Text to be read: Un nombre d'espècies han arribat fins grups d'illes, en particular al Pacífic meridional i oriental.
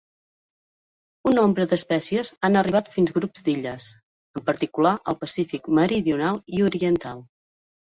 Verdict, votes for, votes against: accepted, 2, 0